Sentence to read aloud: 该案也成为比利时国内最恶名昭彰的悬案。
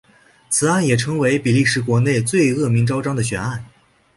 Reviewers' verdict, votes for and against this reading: rejected, 0, 2